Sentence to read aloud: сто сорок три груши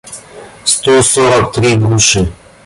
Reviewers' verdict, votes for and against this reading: accepted, 2, 1